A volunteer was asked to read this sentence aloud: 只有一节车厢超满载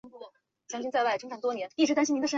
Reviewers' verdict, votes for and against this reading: rejected, 1, 3